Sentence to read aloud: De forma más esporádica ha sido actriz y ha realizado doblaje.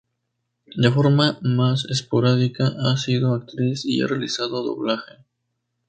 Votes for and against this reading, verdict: 2, 0, accepted